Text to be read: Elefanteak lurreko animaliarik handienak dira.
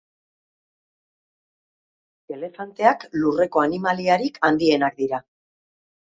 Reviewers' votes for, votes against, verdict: 2, 0, accepted